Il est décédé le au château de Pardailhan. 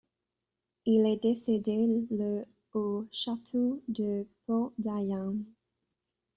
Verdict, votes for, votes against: rejected, 0, 2